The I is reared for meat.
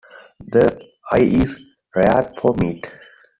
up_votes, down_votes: 2, 1